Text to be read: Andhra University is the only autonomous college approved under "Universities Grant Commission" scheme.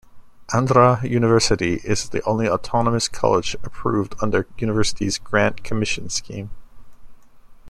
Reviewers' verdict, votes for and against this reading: accepted, 2, 0